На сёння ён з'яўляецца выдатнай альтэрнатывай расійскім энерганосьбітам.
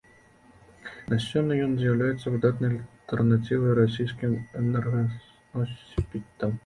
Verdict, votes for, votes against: rejected, 1, 2